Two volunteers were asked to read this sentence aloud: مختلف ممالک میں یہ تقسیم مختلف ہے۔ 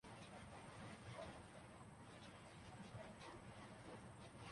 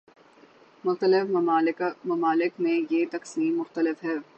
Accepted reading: second